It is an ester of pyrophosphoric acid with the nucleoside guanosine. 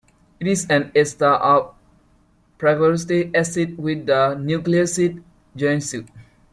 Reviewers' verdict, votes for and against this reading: rejected, 0, 2